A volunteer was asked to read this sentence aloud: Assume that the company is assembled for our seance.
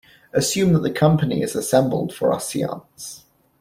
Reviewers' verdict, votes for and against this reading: accepted, 2, 0